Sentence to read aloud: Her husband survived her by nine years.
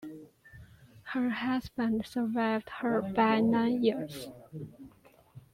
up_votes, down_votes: 1, 2